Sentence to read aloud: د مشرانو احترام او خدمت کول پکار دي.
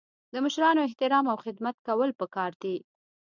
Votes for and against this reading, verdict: 2, 0, accepted